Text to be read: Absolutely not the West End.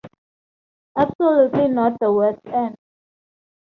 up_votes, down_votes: 2, 0